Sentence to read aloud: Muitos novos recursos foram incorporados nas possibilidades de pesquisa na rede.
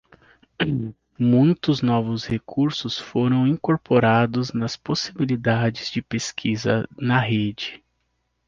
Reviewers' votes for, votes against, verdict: 2, 0, accepted